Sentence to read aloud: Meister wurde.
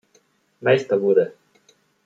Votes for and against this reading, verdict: 2, 0, accepted